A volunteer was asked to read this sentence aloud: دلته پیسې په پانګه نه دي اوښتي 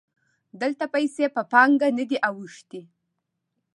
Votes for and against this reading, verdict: 2, 0, accepted